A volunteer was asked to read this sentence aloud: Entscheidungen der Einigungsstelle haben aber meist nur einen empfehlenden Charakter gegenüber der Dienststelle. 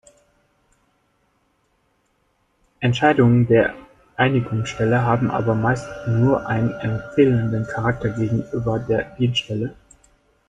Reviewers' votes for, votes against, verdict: 1, 2, rejected